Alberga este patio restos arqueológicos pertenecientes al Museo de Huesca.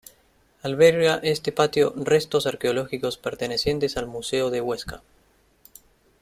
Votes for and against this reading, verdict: 2, 0, accepted